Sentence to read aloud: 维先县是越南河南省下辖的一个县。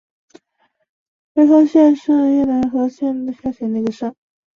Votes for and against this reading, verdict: 0, 2, rejected